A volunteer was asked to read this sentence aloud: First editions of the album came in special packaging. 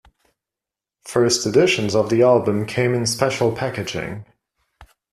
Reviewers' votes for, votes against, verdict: 2, 0, accepted